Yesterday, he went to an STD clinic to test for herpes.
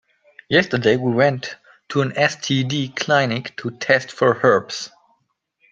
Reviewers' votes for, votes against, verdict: 0, 2, rejected